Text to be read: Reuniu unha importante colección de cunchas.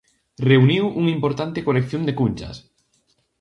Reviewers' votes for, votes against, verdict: 2, 0, accepted